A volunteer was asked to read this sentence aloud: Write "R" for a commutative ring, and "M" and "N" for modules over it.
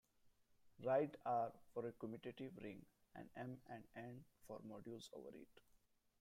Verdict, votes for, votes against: rejected, 0, 2